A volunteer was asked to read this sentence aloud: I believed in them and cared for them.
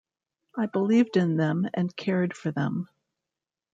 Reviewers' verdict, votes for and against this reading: accepted, 2, 0